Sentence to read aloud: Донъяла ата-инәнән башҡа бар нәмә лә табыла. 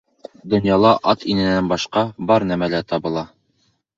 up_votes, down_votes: 2, 0